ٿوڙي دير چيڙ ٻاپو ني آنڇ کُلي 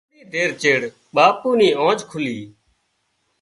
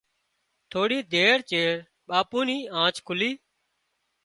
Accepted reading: second